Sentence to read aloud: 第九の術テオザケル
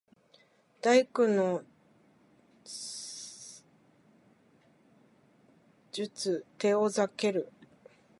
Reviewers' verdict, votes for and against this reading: accepted, 4, 2